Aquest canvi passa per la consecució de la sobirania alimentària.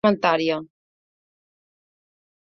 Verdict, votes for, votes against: rejected, 0, 2